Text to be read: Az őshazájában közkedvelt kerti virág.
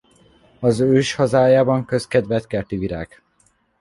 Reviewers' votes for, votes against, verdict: 2, 0, accepted